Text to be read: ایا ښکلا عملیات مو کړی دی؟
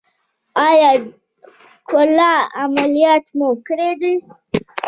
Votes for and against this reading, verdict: 2, 1, accepted